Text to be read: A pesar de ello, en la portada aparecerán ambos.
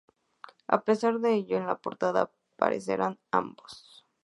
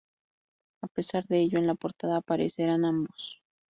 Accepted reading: first